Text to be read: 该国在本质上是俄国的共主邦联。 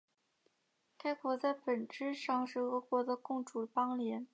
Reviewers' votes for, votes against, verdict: 2, 1, accepted